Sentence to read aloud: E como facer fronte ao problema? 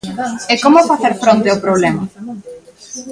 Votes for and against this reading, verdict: 1, 2, rejected